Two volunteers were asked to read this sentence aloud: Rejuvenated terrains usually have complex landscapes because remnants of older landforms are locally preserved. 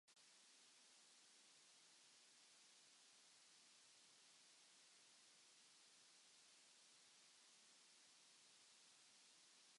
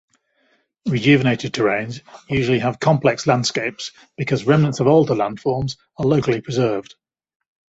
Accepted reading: second